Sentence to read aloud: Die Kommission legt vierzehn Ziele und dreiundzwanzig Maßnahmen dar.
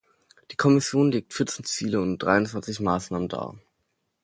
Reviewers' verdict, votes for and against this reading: accepted, 2, 0